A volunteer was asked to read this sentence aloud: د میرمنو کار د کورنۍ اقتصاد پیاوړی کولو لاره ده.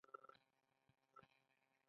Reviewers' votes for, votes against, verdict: 0, 2, rejected